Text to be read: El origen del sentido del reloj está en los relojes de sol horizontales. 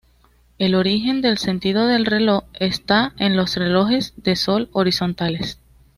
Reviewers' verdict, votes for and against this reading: accepted, 2, 1